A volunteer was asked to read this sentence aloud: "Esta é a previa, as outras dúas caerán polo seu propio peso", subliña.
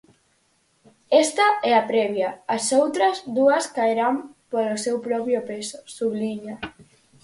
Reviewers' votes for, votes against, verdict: 4, 0, accepted